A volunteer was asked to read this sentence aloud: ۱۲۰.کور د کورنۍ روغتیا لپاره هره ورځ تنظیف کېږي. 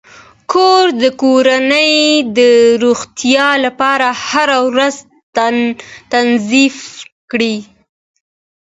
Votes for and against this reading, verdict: 0, 2, rejected